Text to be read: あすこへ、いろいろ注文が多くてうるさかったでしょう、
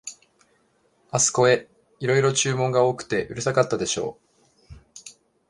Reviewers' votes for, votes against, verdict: 2, 0, accepted